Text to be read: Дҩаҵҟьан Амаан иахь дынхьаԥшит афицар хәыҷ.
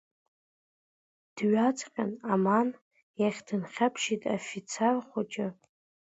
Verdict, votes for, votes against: accepted, 2, 0